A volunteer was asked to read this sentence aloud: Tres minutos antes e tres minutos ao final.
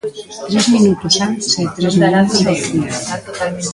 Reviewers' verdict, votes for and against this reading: rejected, 0, 2